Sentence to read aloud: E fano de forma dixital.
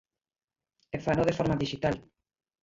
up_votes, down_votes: 0, 2